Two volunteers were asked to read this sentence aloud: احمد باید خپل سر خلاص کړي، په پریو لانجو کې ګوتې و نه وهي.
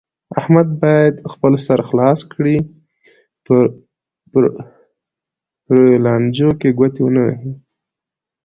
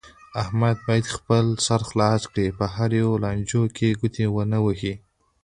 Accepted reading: first